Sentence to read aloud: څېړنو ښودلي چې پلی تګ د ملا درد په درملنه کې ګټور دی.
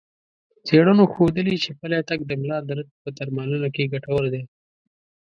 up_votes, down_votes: 2, 0